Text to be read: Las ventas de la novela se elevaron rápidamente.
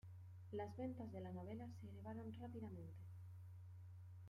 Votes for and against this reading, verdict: 2, 0, accepted